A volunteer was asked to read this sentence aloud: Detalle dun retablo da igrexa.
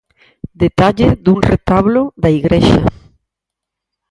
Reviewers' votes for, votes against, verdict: 4, 0, accepted